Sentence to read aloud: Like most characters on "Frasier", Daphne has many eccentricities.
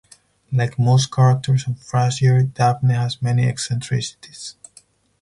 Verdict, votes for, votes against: rejected, 2, 4